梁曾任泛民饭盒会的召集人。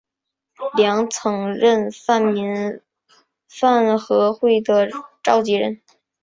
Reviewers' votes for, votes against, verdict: 2, 0, accepted